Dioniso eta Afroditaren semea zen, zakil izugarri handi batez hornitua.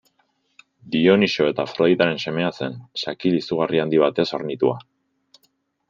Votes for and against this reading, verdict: 2, 0, accepted